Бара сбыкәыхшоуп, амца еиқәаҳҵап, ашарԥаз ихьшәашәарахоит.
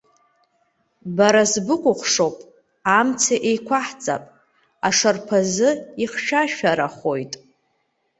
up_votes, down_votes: 3, 2